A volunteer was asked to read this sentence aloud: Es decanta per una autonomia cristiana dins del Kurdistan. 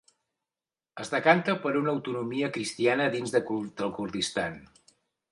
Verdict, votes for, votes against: rejected, 1, 3